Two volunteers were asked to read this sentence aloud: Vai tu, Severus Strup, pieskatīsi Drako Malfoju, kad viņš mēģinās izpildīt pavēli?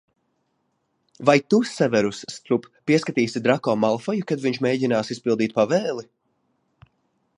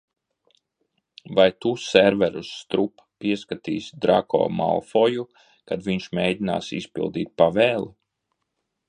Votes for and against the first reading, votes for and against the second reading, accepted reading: 2, 0, 1, 2, first